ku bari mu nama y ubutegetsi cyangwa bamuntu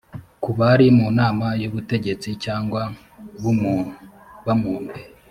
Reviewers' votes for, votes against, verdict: 1, 2, rejected